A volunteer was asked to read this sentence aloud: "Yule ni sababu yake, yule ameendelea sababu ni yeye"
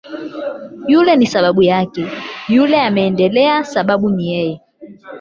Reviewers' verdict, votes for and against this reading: rejected, 0, 8